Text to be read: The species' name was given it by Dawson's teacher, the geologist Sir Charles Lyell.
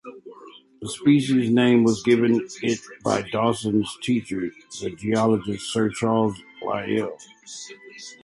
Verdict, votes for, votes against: accepted, 2, 0